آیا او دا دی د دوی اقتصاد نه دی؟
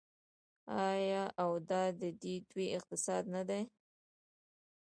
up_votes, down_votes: 0, 2